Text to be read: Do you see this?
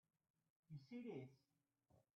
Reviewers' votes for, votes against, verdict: 1, 2, rejected